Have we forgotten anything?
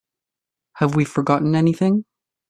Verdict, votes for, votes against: accepted, 2, 0